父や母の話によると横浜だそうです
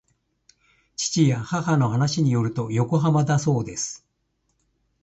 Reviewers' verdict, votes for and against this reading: accepted, 2, 0